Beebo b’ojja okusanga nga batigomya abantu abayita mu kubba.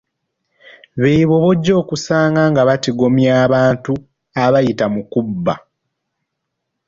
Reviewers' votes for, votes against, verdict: 2, 0, accepted